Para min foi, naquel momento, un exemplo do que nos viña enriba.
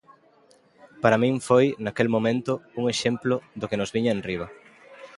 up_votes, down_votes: 1, 2